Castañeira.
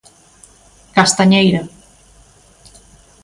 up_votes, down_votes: 2, 0